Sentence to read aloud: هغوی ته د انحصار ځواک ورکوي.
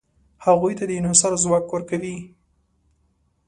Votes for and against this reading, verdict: 2, 0, accepted